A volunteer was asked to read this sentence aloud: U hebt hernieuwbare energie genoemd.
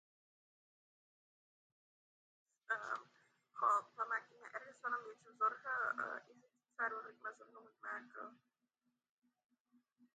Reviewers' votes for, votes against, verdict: 0, 2, rejected